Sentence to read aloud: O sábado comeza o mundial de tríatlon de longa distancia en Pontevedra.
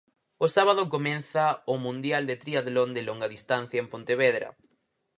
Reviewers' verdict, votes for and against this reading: rejected, 0, 4